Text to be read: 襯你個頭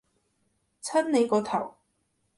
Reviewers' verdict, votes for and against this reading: rejected, 1, 2